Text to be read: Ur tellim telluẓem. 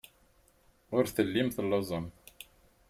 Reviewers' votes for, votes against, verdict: 6, 0, accepted